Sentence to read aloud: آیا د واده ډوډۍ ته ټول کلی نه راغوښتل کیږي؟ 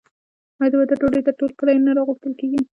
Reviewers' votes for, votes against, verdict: 0, 2, rejected